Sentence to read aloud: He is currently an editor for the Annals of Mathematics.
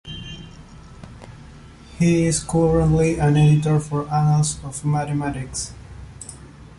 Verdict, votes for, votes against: rejected, 1, 2